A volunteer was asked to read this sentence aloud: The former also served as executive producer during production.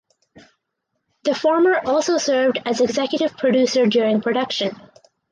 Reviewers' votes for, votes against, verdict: 4, 2, accepted